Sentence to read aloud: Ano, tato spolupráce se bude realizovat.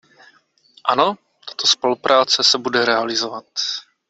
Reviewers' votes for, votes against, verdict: 2, 1, accepted